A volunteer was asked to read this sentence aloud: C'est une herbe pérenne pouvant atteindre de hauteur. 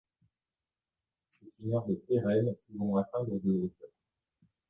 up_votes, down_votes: 1, 2